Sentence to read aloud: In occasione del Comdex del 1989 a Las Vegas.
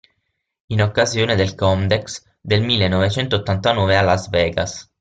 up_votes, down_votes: 0, 2